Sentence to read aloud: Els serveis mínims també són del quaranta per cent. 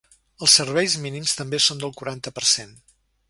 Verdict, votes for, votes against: accepted, 3, 0